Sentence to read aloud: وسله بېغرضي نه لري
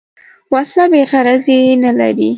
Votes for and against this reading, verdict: 3, 0, accepted